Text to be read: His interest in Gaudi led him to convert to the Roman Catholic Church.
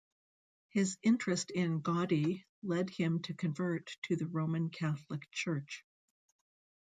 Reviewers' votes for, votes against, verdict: 2, 0, accepted